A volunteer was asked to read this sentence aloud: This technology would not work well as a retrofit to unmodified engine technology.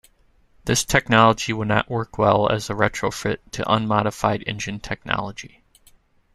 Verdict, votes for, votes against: accepted, 3, 1